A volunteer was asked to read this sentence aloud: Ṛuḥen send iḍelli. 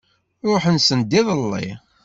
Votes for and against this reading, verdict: 2, 0, accepted